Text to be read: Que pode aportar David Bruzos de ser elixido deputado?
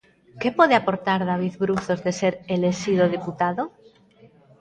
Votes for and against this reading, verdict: 1, 2, rejected